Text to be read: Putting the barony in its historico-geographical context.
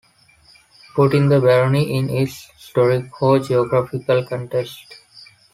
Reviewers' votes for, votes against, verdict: 2, 1, accepted